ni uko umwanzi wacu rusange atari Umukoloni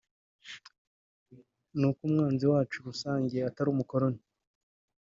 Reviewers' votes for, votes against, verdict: 0, 2, rejected